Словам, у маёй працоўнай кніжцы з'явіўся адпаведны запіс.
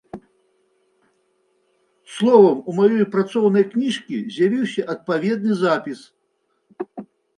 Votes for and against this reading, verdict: 0, 2, rejected